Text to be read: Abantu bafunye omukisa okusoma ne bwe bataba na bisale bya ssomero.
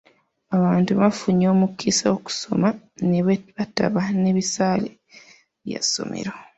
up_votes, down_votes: 0, 2